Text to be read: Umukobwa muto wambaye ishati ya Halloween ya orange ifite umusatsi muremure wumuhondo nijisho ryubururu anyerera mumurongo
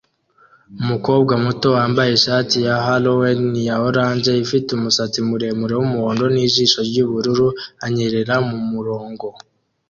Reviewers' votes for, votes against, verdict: 2, 0, accepted